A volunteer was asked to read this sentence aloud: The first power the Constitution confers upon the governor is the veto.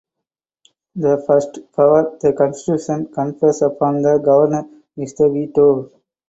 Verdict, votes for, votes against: rejected, 2, 4